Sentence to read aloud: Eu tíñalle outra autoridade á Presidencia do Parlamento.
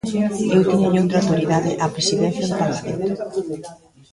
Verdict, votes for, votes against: rejected, 0, 2